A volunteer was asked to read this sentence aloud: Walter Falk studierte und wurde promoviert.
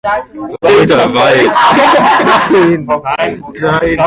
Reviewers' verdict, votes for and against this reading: rejected, 0, 2